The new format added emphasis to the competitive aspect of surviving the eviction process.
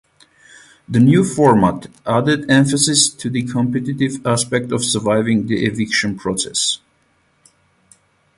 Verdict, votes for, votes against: accepted, 8, 4